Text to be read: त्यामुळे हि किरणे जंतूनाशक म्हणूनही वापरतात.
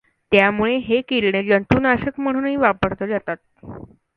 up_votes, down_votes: 0, 2